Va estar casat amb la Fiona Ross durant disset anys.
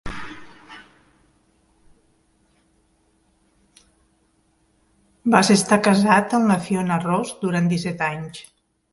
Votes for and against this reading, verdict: 0, 2, rejected